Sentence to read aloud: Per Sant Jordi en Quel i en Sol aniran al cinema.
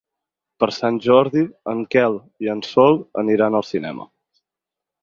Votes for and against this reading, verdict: 6, 0, accepted